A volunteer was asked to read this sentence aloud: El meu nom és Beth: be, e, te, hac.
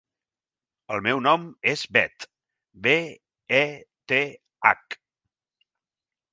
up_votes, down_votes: 2, 0